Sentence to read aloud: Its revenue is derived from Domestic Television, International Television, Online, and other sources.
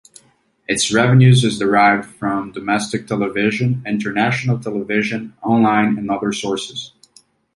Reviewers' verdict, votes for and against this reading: rejected, 1, 2